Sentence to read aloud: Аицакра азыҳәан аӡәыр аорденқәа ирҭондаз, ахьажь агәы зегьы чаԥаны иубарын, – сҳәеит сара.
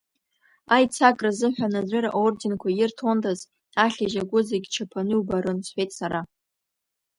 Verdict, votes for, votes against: accepted, 2, 0